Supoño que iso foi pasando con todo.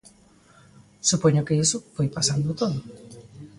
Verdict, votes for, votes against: rejected, 0, 2